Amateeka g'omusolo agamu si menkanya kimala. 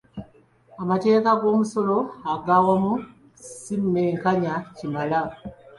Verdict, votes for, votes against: rejected, 1, 2